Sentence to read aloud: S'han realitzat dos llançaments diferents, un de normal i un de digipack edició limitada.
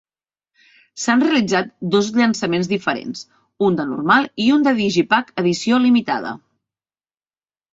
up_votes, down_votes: 4, 0